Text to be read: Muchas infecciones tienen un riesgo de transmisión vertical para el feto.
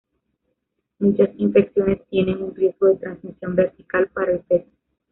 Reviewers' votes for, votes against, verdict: 0, 2, rejected